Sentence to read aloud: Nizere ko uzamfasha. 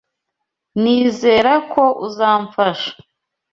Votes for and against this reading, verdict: 0, 2, rejected